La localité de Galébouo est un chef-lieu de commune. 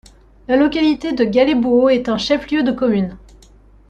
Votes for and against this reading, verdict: 2, 0, accepted